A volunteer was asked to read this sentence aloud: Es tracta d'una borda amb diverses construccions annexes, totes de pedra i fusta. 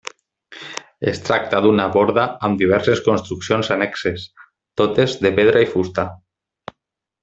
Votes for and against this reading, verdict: 3, 0, accepted